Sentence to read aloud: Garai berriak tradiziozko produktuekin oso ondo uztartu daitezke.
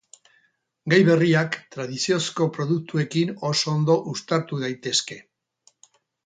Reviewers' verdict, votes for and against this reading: rejected, 0, 4